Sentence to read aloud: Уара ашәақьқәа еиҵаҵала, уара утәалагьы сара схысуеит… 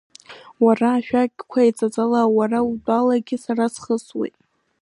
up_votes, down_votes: 2, 0